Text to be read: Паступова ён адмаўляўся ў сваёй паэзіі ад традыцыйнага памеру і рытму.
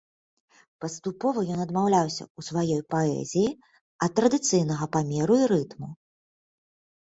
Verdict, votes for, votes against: accepted, 2, 0